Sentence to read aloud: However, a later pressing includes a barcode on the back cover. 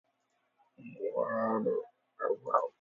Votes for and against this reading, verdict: 0, 2, rejected